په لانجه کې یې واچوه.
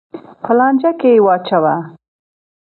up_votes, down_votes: 2, 0